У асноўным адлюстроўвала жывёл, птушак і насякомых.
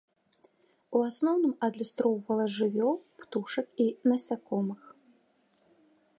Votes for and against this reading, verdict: 2, 0, accepted